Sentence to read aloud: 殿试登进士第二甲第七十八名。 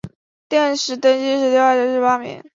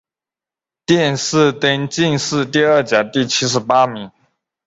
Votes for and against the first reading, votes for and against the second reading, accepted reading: 2, 3, 2, 0, second